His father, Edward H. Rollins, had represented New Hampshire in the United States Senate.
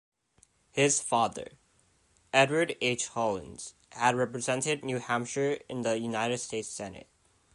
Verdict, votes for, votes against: rejected, 1, 2